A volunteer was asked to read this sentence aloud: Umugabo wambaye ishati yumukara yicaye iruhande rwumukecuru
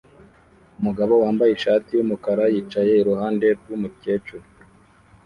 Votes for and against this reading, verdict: 2, 0, accepted